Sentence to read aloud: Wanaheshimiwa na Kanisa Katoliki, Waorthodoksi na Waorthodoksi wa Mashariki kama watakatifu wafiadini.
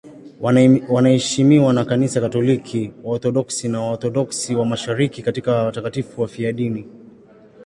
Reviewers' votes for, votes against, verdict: 1, 2, rejected